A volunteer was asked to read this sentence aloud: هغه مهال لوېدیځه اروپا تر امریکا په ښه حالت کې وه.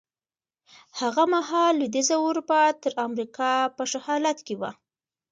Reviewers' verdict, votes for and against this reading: accepted, 2, 0